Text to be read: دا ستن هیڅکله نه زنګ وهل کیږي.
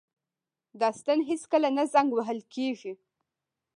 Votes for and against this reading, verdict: 2, 0, accepted